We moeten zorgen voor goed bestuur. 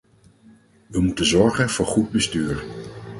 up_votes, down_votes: 0, 4